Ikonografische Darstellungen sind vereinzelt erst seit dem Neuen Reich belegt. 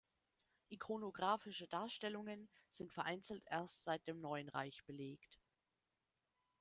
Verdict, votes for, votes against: accepted, 2, 0